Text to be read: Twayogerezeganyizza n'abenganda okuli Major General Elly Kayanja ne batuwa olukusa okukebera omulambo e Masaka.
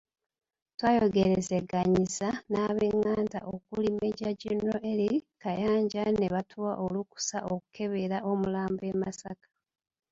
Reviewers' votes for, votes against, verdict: 1, 2, rejected